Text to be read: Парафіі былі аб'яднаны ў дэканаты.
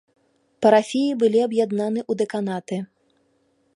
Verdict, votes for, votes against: rejected, 1, 2